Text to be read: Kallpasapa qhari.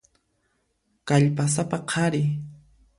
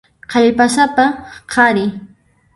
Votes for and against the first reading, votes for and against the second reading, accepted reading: 2, 0, 0, 2, first